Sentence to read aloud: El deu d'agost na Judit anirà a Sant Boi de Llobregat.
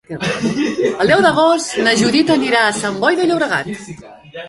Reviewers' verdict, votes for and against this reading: rejected, 0, 2